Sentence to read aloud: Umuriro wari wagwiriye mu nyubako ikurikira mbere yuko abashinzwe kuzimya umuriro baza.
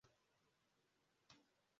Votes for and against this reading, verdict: 0, 2, rejected